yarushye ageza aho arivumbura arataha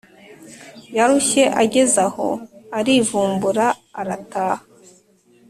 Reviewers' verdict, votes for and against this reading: accepted, 2, 0